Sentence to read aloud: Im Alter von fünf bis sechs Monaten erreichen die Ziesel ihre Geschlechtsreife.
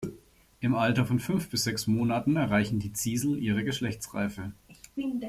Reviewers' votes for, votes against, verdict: 2, 0, accepted